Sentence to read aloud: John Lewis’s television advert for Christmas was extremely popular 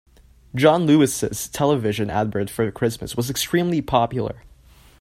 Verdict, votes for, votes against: accepted, 2, 0